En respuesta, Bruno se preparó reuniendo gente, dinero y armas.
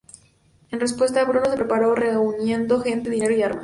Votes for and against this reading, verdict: 0, 2, rejected